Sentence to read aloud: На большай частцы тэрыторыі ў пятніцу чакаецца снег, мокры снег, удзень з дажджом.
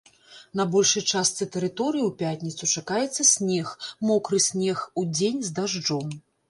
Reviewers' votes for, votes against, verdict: 2, 0, accepted